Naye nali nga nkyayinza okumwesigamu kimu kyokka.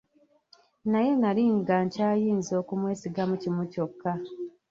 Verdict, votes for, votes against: rejected, 1, 2